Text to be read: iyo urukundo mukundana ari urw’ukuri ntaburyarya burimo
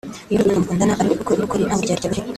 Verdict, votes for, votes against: rejected, 1, 2